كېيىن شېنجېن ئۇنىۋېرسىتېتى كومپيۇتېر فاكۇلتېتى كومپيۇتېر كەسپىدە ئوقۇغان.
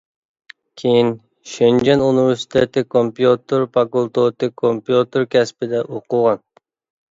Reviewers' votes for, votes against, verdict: 2, 1, accepted